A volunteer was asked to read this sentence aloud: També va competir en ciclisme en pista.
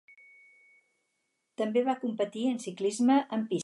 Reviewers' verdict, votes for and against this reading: rejected, 2, 4